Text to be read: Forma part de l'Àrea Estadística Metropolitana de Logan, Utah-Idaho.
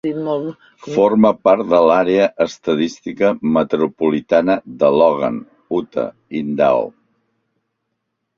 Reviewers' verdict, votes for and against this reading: accepted, 2, 1